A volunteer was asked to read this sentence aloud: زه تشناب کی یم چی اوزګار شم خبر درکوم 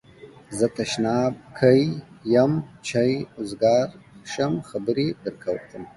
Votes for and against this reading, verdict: 1, 5, rejected